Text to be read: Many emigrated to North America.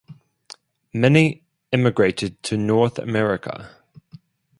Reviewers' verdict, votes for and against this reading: accepted, 2, 0